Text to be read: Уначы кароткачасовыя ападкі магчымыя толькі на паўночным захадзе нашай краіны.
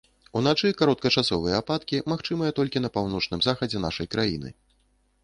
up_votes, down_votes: 2, 0